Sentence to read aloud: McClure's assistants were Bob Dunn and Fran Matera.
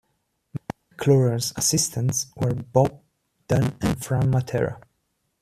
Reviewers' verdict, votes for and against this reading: accepted, 2, 0